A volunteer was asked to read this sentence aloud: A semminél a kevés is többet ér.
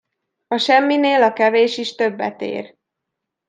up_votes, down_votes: 2, 0